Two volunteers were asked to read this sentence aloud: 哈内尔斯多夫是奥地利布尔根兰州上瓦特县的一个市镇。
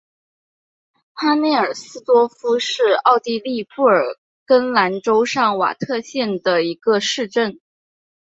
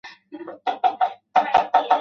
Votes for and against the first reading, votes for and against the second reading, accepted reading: 9, 0, 0, 4, first